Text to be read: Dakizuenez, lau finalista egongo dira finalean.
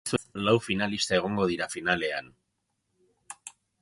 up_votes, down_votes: 0, 2